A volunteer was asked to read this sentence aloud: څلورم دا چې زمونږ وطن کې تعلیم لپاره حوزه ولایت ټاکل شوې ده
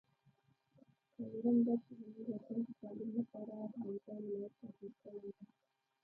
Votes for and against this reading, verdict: 0, 2, rejected